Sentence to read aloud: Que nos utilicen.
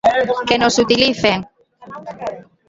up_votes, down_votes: 0, 2